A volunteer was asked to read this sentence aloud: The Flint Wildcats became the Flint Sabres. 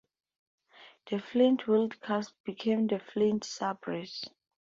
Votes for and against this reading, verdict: 0, 2, rejected